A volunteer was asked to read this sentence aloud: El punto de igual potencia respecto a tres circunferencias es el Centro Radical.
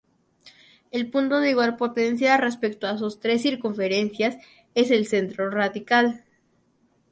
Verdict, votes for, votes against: rejected, 0, 2